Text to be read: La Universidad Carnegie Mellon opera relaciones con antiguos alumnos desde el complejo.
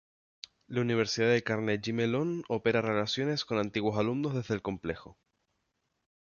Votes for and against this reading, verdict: 0, 2, rejected